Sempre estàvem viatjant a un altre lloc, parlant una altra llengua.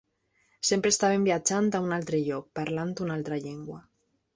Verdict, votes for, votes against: accepted, 3, 1